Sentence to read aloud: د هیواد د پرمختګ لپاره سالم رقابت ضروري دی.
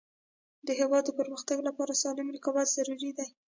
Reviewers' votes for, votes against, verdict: 1, 2, rejected